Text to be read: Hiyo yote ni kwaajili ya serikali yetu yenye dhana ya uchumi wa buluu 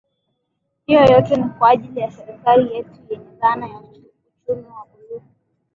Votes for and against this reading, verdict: 2, 3, rejected